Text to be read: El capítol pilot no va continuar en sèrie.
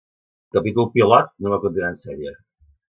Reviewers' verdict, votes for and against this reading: rejected, 1, 2